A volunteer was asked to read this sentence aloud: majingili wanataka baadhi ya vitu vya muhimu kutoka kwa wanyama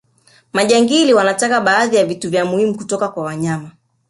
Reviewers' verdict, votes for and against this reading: accepted, 2, 1